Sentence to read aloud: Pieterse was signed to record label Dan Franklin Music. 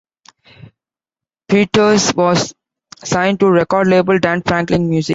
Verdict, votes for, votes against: rejected, 0, 2